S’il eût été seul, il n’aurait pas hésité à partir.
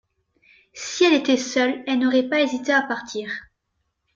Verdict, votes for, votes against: rejected, 1, 2